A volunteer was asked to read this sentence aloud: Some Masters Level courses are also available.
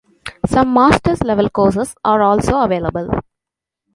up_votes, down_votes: 3, 0